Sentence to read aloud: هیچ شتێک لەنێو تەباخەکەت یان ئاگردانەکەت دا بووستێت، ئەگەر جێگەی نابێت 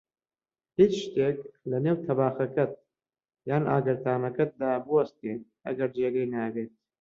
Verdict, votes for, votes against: accepted, 2, 1